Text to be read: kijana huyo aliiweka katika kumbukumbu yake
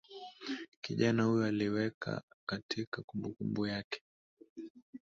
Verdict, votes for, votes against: accepted, 3, 0